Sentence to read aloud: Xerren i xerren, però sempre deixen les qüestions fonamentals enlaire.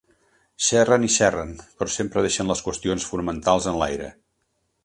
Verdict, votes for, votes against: accepted, 2, 0